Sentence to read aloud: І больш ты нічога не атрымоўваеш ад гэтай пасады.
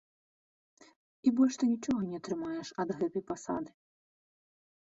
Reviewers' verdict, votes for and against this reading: rejected, 0, 2